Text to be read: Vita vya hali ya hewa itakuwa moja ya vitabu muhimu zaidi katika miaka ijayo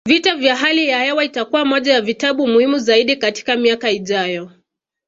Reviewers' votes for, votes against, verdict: 2, 0, accepted